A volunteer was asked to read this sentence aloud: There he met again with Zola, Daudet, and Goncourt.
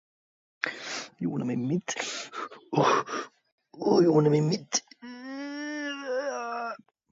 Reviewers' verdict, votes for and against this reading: rejected, 1, 2